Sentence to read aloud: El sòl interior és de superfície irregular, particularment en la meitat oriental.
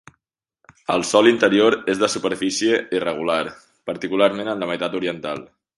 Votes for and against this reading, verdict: 2, 0, accepted